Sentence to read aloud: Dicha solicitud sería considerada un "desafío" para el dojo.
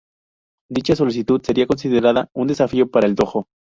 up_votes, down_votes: 2, 0